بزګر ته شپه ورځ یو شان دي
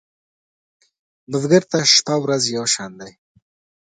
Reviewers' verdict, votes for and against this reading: accepted, 2, 0